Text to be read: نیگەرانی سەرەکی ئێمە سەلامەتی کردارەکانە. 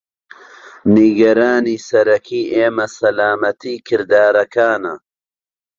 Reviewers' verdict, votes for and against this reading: rejected, 1, 2